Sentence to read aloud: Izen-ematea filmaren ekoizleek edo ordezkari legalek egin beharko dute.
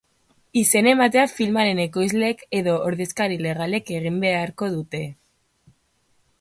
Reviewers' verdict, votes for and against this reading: accepted, 3, 0